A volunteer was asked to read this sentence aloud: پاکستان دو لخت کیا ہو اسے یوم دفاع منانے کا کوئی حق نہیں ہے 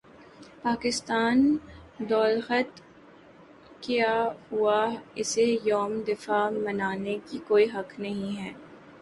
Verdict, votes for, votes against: rejected, 1, 3